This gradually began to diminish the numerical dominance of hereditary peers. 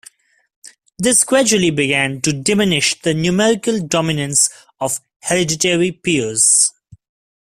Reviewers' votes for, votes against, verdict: 1, 2, rejected